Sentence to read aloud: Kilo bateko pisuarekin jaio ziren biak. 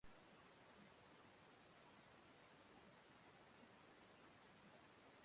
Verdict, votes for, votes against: rejected, 0, 3